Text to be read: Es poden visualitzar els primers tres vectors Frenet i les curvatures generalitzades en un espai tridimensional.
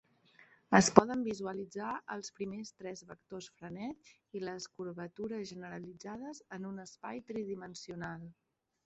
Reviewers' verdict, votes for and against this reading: rejected, 1, 2